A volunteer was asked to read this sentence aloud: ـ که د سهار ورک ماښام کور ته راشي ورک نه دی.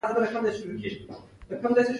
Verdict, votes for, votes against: rejected, 1, 2